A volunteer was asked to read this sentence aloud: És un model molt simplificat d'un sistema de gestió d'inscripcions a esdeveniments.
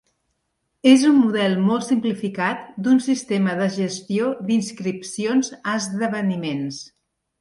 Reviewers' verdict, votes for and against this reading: accepted, 2, 0